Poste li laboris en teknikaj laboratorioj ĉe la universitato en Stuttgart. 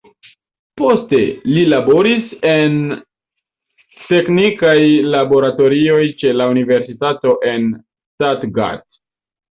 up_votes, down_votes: 0, 2